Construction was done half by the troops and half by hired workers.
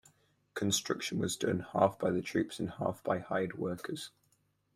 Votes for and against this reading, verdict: 4, 2, accepted